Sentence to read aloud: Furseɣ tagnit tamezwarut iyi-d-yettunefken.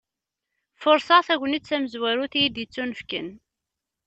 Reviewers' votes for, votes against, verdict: 2, 0, accepted